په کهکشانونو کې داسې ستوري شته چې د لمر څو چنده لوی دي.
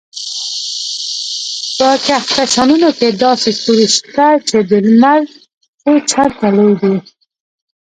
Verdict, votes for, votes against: rejected, 0, 2